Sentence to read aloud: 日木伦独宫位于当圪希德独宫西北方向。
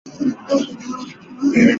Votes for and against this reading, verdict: 0, 3, rejected